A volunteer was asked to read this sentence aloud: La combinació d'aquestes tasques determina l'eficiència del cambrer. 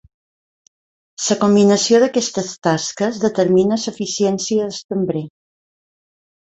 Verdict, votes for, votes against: rejected, 0, 3